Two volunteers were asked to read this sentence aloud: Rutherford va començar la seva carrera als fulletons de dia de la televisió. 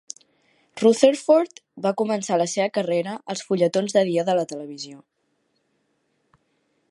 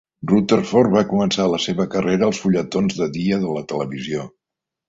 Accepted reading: first